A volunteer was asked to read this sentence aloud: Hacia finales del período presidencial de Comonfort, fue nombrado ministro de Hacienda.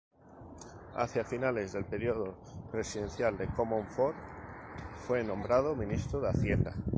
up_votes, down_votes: 2, 0